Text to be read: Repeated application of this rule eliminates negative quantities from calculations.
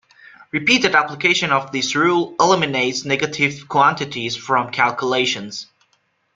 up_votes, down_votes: 2, 1